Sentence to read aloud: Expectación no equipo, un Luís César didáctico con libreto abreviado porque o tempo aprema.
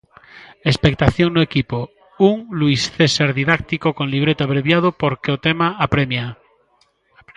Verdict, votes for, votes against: rejected, 0, 2